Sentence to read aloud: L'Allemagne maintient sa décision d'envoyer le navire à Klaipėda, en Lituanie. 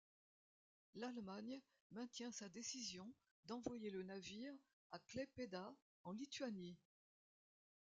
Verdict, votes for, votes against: rejected, 1, 2